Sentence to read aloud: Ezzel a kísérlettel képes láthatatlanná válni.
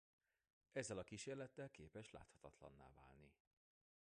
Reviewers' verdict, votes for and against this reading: rejected, 0, 2